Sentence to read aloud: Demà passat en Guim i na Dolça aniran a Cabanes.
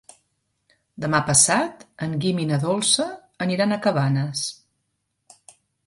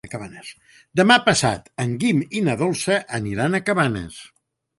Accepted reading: first